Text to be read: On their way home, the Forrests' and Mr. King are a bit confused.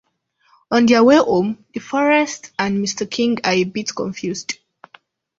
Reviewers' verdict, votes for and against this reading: accepted, 2, 0